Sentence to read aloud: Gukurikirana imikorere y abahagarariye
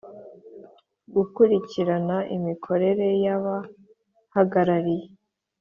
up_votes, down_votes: 5, 0